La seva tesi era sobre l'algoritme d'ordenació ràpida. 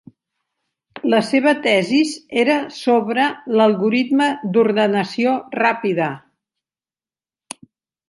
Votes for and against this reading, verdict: 0, 2, rejected